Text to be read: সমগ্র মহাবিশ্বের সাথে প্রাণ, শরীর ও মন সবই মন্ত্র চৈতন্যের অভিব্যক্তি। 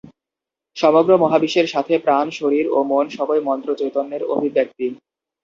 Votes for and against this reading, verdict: 2, 2, rejected